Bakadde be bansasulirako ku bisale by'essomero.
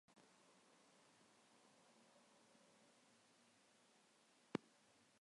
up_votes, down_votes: 0, 2